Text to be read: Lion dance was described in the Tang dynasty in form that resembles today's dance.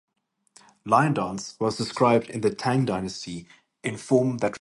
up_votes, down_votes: 0, 4